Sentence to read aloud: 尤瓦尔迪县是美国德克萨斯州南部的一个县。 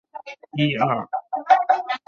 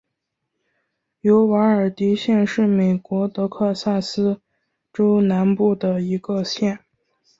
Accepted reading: second